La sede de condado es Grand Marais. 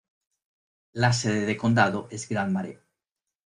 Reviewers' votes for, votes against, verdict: 0, 2, rejected